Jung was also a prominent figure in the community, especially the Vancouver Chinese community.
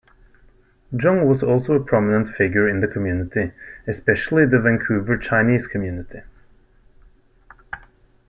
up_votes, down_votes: 2, 0